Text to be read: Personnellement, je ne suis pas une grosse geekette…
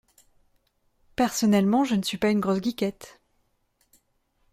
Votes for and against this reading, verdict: 2, 0, accepted